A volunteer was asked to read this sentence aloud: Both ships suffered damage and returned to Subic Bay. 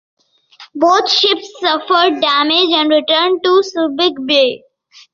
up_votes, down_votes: 2, 0